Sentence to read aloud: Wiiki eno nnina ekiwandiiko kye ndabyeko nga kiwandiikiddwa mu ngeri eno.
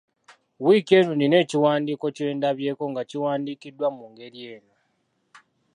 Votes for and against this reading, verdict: 2, 0, accepted